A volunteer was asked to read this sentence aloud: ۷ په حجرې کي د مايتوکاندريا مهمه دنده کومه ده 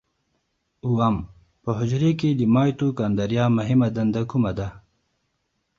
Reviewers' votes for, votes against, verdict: 0, 2, rejected